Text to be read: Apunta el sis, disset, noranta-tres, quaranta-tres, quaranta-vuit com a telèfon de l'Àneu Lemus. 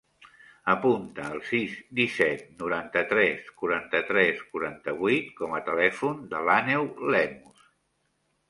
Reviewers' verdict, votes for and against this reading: accepted, 3, 0